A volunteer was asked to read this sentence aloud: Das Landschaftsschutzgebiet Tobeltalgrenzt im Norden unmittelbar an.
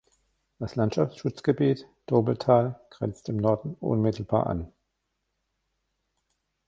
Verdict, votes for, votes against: rejected, 0, 2